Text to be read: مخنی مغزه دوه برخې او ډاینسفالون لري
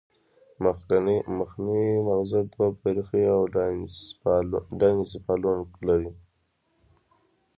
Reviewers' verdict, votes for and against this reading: accepted, 2, 0